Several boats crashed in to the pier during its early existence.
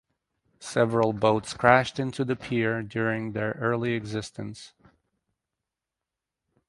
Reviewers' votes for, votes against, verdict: 0, 2, rejected